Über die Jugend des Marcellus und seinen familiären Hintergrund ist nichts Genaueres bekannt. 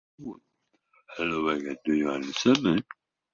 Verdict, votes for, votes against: rejected, 0, 2